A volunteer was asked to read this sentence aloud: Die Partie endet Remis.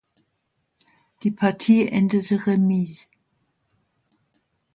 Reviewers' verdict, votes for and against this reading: rejected, 0, 2